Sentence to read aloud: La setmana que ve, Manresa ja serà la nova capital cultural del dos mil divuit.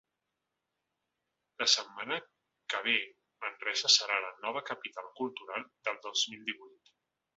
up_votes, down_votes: 0, 2